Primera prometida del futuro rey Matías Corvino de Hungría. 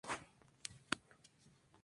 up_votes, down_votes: 0, 2